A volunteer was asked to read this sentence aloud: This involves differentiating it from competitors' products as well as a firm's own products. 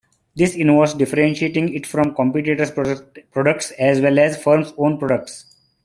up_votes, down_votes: 0, 2